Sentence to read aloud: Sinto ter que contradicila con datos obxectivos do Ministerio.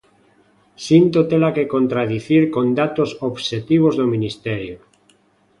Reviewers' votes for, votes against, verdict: 0, 2, rejected